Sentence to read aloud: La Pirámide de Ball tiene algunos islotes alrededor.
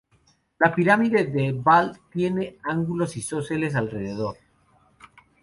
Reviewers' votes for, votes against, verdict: 0, 2, rejected